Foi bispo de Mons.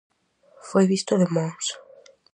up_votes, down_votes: 0, 4